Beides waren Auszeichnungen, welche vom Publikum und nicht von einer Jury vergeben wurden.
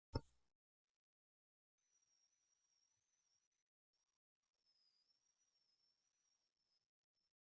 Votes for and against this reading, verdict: 0, 2, rejected